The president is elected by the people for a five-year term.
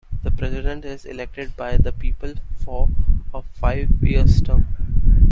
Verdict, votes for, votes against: rejected, 0, 2